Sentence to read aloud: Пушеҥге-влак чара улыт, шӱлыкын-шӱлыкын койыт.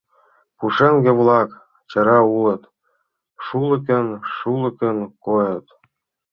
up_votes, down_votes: 0, 2